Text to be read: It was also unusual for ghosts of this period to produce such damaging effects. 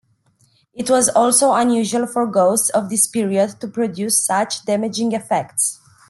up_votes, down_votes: 2, 0